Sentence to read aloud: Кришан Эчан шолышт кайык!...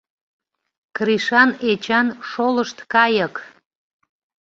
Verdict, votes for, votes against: accepted, 2, 0